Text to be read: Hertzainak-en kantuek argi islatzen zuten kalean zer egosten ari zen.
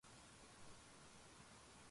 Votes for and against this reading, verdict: 0, 4, rejected